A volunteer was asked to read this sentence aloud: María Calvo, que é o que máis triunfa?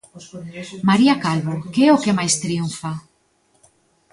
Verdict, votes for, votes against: rejected, 1, 2